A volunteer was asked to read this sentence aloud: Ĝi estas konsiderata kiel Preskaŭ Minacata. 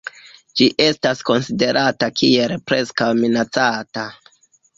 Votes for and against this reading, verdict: 1, 2, rejected